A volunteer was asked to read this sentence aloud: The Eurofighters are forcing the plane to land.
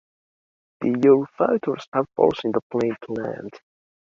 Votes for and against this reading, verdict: 1, 2, rejected